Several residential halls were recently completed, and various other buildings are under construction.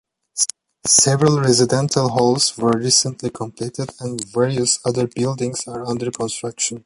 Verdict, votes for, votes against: accepted, 2, 1